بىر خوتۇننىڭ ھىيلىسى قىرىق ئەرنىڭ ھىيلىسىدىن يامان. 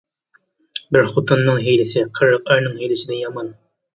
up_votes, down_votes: 2, 1